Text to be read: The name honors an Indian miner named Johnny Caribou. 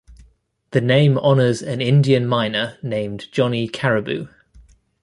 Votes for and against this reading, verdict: 2, 0, accepted